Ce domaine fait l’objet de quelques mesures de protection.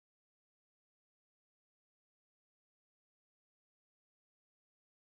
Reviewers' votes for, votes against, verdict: 0, 2, rejected